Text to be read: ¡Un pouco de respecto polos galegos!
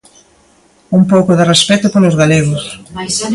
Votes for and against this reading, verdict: 2, 0, accepted